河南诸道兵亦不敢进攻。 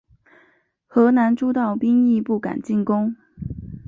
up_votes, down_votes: 3, 0